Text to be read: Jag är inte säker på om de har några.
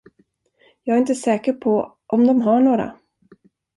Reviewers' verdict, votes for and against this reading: accepted, 2, 0